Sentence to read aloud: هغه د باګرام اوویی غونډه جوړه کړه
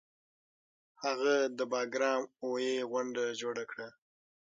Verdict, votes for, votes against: accepted, 6, 3